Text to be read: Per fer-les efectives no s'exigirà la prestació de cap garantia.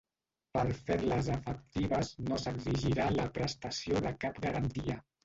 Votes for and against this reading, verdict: 0, 2, rejected